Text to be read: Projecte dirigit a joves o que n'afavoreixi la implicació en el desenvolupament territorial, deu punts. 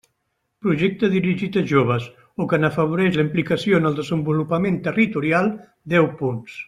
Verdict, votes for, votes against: rejected, 0, 2